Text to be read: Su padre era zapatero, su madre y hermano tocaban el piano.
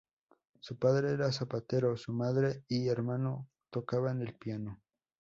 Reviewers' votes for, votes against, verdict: 6, 0, accepted